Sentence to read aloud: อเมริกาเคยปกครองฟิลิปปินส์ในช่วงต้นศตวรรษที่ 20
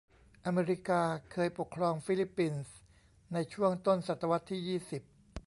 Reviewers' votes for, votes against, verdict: 0, 2, rejected